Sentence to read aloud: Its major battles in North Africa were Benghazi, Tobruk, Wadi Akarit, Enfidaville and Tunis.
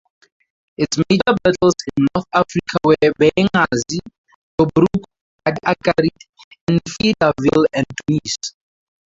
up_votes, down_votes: 0, 2